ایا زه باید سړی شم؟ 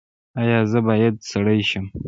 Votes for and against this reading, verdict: 0, 2, rejected